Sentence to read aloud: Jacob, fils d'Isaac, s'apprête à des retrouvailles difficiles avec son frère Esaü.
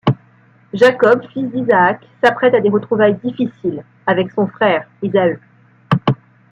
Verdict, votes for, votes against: accepted, 2, 0